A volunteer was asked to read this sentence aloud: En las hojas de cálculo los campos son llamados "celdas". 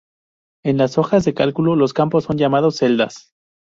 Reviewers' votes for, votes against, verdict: 4, 0, accepted